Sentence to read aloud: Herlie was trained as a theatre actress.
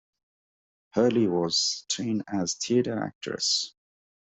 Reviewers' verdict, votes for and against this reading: rejected, 0, 2